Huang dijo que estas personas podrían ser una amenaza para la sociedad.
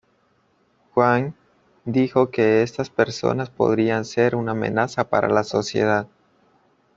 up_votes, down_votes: 2, 0